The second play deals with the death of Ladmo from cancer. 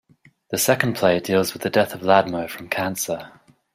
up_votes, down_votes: 2, 0